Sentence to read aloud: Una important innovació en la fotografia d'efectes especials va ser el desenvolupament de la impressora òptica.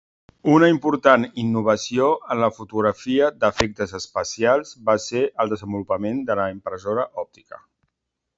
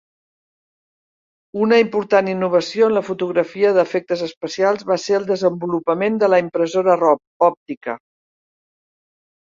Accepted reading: first